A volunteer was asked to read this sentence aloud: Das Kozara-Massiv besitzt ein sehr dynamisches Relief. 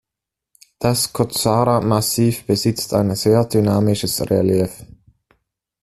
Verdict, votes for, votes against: rejected, 1, 2